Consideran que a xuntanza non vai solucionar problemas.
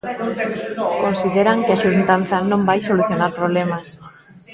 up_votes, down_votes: 0, 2